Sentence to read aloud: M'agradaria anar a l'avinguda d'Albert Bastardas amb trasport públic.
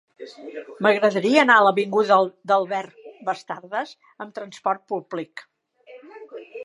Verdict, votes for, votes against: rejected, 0, 2